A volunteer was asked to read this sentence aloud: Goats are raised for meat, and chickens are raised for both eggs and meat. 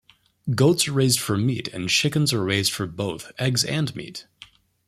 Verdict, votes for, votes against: accepted, 2, 0